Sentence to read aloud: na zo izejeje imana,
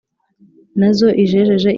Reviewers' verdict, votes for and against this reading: rejected, 1, 2